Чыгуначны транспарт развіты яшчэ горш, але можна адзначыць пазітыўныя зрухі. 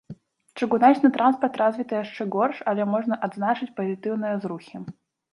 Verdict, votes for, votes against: rejected, 0, 2